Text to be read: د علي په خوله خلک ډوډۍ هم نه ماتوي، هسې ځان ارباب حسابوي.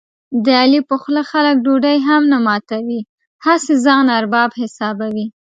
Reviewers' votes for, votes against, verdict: 4, 0, accepted